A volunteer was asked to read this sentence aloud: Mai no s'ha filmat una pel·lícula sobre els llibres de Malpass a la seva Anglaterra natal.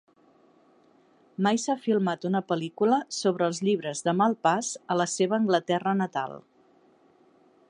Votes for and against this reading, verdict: 1, 2, rejected